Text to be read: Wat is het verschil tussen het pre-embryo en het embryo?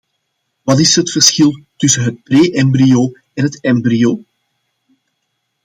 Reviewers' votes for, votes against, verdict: 2, 0, accepted